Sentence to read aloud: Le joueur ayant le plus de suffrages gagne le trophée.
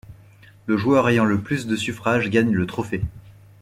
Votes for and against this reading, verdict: 2, 0, accepted